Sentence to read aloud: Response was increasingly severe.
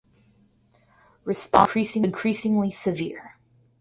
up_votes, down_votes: 0, 4